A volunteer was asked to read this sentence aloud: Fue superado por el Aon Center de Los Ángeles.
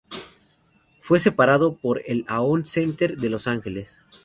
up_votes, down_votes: 2, 0